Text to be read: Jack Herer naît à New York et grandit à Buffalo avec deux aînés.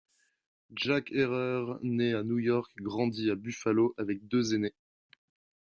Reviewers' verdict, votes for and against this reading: accepted, 2, 0